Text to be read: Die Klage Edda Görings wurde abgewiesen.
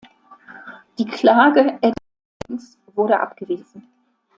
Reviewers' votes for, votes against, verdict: 0, 2, rejected